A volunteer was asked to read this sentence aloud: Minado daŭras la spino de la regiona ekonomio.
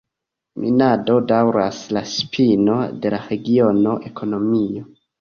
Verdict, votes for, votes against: rejected, 0, 2